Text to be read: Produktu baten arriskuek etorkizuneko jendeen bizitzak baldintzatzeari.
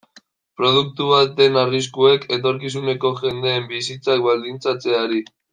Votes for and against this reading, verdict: 0, 2, rejected